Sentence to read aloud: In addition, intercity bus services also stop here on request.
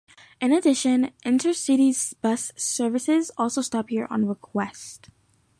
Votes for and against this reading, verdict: 0, 2, rejected